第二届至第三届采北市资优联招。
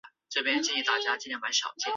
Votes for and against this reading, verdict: 2, 0, accepted